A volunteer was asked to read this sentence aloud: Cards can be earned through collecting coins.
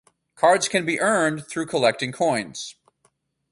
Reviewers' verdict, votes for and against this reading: rejected, 0, 2